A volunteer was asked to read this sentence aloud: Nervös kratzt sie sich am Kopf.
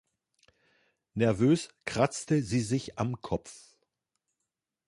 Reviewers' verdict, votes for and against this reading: rejected, 0, 2